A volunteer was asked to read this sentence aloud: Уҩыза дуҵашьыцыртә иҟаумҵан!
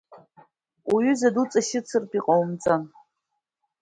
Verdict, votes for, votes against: accepted, 2, 0